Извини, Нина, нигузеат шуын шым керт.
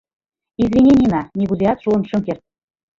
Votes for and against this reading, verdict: 2, 1, accepted